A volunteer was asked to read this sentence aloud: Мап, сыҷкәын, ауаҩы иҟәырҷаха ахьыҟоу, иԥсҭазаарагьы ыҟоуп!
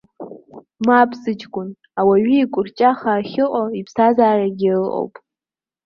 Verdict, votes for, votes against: accepted, 2, 0